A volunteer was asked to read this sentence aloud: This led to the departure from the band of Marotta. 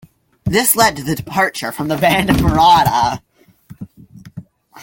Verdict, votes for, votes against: accepted, 2, 1